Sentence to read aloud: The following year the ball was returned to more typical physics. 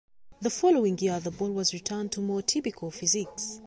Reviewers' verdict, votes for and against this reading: accepted, 2, 0